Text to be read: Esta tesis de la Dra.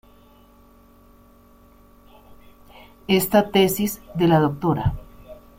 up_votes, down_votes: 2, 1